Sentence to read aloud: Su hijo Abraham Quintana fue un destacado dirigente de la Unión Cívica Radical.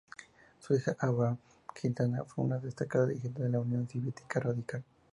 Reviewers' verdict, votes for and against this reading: rejected, 0, 2